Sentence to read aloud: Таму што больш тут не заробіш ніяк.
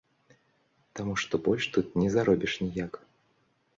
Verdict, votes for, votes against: accepted, 2, 0